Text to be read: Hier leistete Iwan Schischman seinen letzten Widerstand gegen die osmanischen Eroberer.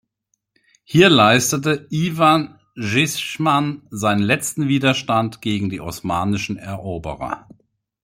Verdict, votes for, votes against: rejected, 1, 2